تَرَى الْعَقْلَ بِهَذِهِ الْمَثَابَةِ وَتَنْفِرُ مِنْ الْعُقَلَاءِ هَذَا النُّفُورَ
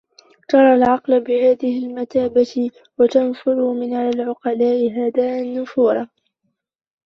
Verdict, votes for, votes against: rejected, 0, 2